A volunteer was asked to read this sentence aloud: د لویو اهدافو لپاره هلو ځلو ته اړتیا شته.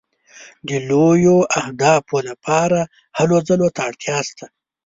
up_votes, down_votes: 1, 2